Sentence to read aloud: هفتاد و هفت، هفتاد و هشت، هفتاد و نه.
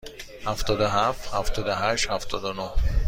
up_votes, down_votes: 2, 0